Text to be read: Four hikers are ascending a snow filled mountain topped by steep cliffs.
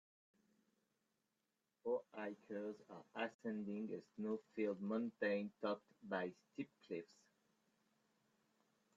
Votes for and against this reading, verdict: 1, 2, rejected